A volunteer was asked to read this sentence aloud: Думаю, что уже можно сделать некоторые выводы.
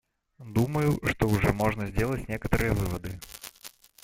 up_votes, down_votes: 1, 2